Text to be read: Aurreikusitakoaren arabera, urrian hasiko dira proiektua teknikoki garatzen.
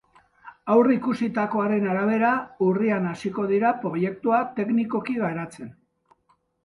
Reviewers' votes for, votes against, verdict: 2, 0, accepted